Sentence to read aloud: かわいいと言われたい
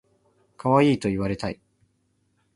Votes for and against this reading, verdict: 2, 0, accepted